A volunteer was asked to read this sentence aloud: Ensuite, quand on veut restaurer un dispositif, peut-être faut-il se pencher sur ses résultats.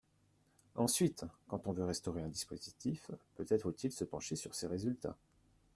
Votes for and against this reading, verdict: 1, 2, rejected